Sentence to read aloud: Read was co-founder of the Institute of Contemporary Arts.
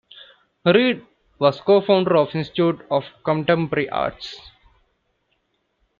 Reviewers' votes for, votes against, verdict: 1, 2, rejected